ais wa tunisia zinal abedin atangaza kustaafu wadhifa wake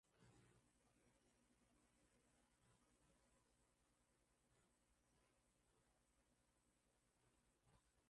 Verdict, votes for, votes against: rejected, 0, 2